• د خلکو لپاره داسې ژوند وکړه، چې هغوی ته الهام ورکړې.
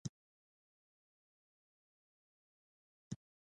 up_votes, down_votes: 0, 2